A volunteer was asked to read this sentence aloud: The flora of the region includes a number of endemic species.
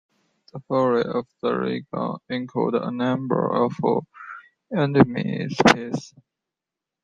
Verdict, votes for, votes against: rejected, 1, 2